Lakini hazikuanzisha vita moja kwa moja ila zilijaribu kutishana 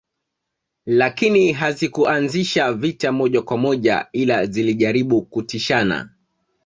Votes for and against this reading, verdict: 0, 2, rejected